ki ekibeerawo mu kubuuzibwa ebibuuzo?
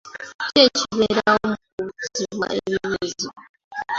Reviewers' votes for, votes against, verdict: 1, 2, rejected